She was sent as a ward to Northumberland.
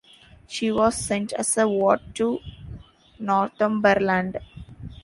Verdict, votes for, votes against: accepted, 2, 0